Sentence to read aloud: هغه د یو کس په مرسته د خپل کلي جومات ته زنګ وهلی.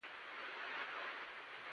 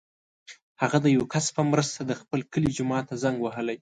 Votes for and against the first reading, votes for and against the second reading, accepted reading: 0, 2, 2, 0, second